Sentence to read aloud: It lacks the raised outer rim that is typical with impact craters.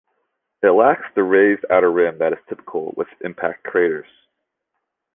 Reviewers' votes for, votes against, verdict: 0, 2, rejected